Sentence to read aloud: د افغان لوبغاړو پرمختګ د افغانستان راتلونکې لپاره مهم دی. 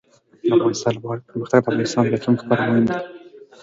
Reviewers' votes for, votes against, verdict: 2, 3, rejected